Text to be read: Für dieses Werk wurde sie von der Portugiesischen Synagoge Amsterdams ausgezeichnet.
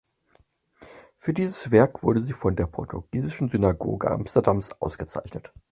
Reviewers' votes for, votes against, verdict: 4, 0, accepted